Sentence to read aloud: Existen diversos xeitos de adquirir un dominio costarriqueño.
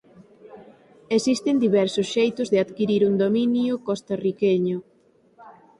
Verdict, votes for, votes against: accepted, 4, 0